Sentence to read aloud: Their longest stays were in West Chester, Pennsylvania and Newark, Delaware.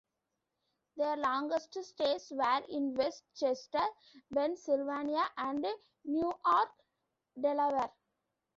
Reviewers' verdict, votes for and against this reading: rejected, 0, 2